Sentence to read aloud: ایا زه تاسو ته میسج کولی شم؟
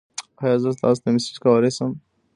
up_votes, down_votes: 2, 0